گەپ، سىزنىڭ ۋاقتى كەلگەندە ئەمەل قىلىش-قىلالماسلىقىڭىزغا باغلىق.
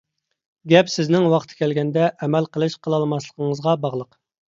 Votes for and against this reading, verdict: 2, 0, accepted